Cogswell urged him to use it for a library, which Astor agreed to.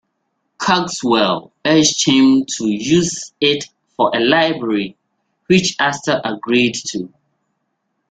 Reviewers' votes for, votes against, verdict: 2, 0, accepted